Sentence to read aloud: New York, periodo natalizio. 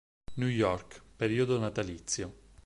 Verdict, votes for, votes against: accepted, 6, 0